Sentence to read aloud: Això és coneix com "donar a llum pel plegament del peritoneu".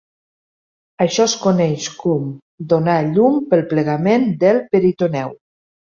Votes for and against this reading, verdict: 1, 2, rejected